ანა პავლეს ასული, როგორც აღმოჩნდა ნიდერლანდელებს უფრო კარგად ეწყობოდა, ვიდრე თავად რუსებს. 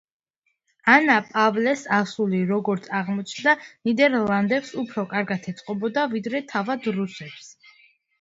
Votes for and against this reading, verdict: 2, 1, accepted